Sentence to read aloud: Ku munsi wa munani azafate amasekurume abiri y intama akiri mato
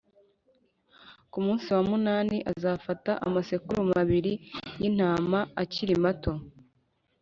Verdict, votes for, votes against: accepted, 5, 0